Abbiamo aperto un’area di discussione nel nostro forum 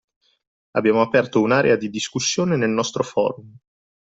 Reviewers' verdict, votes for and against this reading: rejected, 0, 2